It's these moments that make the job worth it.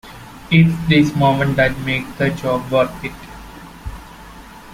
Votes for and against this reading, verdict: 1, 2, rejected